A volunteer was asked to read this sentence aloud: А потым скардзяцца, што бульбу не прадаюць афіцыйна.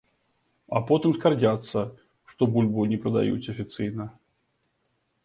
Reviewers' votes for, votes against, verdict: 1, 3, rejected